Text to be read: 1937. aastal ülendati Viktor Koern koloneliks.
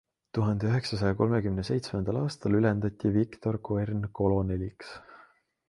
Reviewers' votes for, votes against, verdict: 0, 2, rejected